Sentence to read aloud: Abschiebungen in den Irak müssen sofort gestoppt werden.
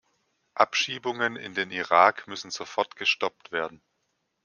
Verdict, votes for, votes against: accepted, 2, 0